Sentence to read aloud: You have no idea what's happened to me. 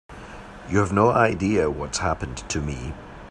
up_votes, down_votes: 3, 0